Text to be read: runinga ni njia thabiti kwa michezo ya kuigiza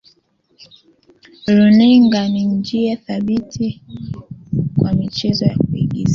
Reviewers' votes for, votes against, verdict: 0, 2, rejected